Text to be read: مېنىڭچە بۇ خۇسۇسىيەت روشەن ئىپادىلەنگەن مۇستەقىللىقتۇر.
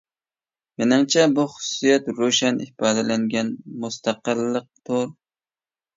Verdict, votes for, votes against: accepted, 2, 1